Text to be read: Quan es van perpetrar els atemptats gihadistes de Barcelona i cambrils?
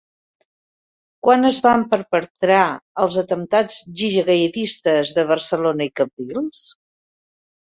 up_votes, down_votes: 0, 3